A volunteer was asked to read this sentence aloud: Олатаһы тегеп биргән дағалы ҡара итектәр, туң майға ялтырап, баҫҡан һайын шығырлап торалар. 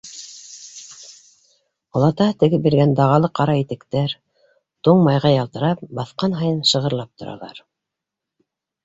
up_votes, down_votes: 2, 1